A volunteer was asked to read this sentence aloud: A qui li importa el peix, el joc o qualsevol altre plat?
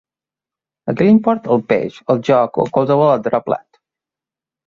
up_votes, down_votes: 2, 1